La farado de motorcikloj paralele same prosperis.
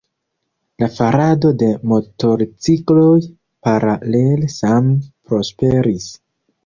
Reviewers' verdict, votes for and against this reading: rejected, 0, 2